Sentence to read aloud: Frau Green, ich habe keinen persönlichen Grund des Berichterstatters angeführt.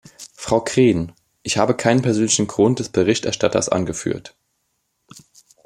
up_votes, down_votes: 2, 0